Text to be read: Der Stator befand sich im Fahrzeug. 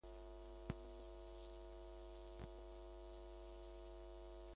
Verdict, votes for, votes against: rejected, 0, 2